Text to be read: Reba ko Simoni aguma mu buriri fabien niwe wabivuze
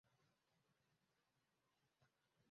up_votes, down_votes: 0, 2